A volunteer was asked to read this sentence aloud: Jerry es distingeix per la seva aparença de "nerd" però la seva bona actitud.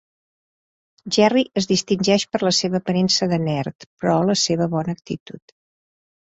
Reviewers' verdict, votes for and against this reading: accepted, 2, 0